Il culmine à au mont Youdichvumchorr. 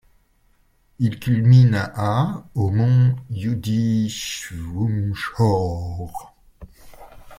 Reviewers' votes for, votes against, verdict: 1, 2, rejected